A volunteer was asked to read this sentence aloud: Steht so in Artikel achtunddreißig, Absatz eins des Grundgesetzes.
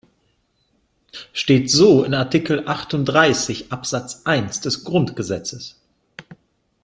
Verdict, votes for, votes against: accepted, 2, 0